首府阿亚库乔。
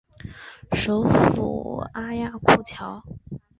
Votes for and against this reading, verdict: 4, 0, accepted